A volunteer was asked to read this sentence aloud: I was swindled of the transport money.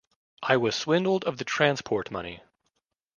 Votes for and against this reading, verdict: 2, 0, accepted